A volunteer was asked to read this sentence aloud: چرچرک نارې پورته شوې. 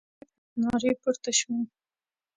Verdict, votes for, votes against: rejected, 1, 2